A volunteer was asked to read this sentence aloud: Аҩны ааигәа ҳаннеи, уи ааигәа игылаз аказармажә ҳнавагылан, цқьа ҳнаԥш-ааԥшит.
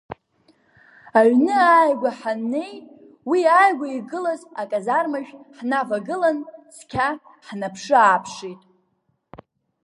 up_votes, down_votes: 1, 2